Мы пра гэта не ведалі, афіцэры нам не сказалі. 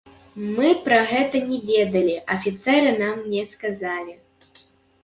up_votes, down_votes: 1, 3